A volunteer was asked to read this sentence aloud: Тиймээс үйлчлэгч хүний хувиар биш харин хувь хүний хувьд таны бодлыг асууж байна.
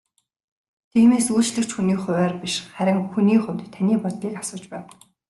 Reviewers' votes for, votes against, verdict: 0, 2, rejected